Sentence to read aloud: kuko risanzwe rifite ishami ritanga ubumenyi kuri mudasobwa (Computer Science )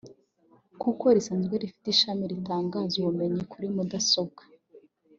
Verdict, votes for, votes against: rejected, 0, 2